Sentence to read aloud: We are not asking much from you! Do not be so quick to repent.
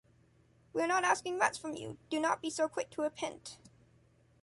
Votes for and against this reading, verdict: 1, 2, rejected